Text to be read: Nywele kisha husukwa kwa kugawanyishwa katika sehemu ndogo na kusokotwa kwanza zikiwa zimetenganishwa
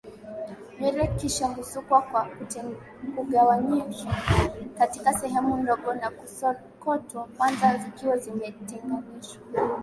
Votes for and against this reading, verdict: 1, 3, rejected